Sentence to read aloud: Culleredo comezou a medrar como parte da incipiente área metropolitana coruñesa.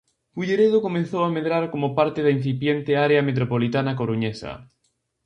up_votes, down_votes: 0, 2